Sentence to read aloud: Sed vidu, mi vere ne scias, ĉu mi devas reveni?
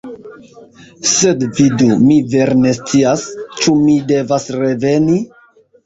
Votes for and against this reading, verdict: 1, 2, rejected